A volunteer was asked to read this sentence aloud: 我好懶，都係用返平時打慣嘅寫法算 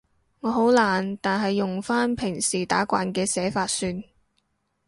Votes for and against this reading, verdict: 0, 2, rejected